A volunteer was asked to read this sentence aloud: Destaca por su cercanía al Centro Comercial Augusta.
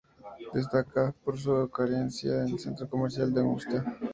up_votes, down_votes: 2, 0